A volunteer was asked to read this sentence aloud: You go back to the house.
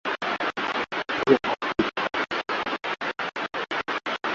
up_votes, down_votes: 0, 2